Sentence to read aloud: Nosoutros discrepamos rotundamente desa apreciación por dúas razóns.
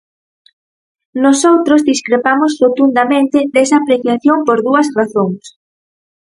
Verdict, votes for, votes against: accepted, 4, 0